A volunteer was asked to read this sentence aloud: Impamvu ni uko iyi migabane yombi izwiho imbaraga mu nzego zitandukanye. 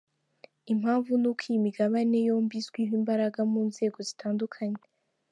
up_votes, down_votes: 0, 2